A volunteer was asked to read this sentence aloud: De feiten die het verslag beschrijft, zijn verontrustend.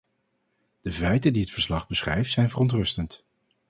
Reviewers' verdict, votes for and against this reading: accepted, 4, 0